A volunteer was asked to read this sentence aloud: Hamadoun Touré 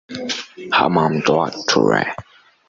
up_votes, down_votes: 0, 2